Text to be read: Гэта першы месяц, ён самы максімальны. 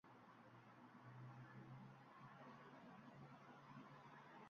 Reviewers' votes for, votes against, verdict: 0, 3, rejected